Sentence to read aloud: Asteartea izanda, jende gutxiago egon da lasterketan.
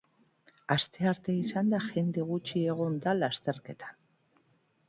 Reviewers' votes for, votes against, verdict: 1, 2, rejected